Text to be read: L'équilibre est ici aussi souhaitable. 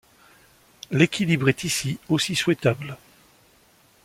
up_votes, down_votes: 2, 0